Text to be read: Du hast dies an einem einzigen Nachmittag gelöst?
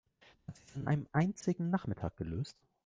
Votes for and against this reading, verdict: 1, 2, rejected